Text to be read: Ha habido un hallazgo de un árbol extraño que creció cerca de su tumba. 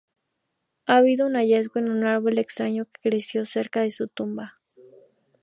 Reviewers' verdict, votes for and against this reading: accepted, 2, 0